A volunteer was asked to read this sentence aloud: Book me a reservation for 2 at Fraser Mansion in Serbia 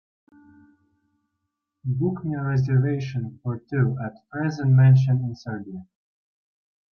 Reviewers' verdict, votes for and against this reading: rejected, 0, 2